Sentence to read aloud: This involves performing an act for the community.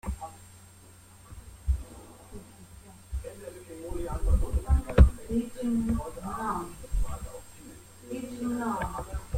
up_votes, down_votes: 0, 2